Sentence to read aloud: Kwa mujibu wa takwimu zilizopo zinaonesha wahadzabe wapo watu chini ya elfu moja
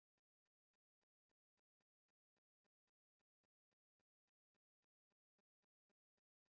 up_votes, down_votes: 1, 2